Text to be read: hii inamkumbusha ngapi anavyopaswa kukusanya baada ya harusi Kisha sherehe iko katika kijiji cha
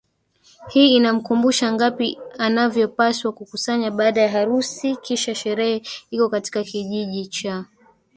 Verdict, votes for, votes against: rejected, 0, 2